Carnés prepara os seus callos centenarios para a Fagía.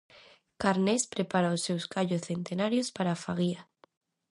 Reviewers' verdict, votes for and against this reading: rejected, 0, 2